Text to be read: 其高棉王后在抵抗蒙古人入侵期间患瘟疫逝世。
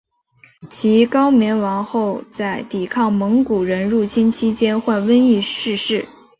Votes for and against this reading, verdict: 4, 0, accepted